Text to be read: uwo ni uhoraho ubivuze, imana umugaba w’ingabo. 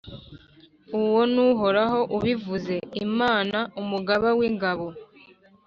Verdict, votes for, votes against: accepted, 2, 0